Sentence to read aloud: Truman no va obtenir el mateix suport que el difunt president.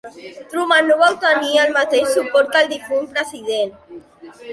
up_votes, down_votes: 2, 1